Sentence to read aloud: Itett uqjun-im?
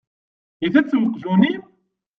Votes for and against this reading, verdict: 1, 2, rejected